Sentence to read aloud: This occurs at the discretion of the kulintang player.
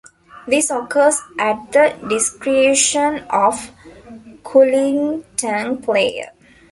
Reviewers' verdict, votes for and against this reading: rejected, 0, 2